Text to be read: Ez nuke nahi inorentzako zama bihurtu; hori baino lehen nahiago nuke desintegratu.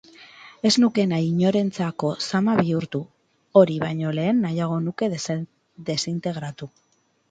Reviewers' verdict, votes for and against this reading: rejected, 2, 2